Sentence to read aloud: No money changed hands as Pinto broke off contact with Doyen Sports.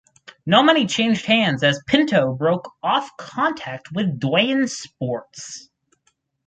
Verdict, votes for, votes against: rejected, 2, 2